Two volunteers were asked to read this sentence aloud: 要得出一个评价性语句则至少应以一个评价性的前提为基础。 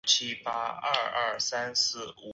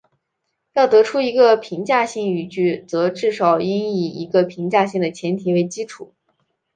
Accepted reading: second